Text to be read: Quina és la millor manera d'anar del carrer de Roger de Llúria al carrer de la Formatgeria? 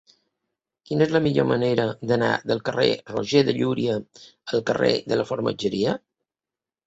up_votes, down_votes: 0, 2